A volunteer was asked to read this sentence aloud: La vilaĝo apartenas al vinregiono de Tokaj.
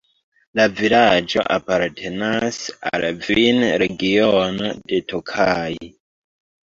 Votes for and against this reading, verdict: 0, 2, rejected